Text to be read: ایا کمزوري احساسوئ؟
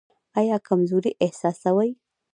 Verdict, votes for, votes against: accepted, 2, 0